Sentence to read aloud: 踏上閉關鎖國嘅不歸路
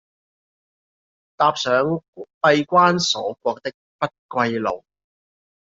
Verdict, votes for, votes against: rejected, 0, 2